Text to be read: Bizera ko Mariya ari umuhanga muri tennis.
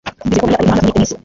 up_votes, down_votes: 1, 2